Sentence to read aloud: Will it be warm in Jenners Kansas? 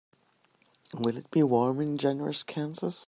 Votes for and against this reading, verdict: 2, 0, accepted